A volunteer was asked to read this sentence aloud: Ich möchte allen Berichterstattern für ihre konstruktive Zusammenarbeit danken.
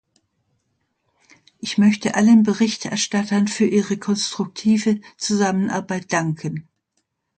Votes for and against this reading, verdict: 2, 0, accepted